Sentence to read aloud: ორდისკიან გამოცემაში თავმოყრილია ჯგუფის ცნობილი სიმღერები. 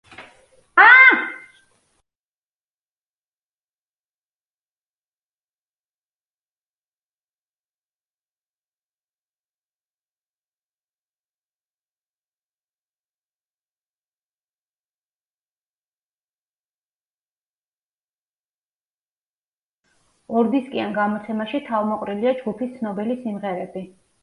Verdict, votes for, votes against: rejected, 0, 2